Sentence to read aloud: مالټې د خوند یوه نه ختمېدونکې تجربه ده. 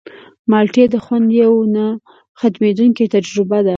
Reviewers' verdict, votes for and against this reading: accepted, 3, 0